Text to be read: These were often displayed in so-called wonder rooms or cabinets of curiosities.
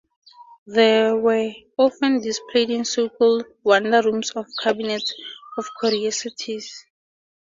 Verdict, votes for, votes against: rejected, 0, 2